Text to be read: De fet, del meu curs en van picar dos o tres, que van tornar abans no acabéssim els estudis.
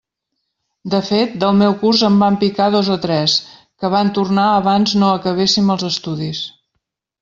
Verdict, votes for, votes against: accepted, 2, 1